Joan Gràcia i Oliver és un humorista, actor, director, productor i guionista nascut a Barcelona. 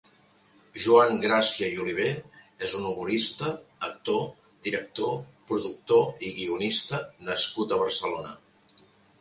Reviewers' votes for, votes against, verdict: 3, 0, accepted